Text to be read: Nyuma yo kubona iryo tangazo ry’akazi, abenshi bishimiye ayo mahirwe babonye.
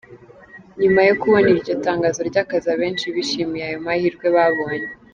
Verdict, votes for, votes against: accepted, 2, 0